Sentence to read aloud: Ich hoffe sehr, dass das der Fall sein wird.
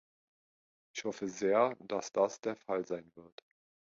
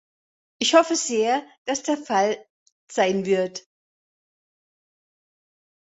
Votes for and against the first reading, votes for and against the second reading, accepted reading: 2, 0, 0, 2, first